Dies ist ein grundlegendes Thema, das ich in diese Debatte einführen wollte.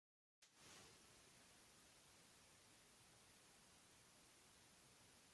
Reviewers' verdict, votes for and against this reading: rejected, 0, 2